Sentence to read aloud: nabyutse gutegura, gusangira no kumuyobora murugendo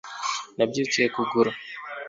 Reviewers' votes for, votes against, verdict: 1, 3, rejected